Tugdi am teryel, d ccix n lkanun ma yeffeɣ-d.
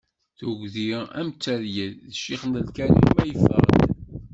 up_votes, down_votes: 0, 2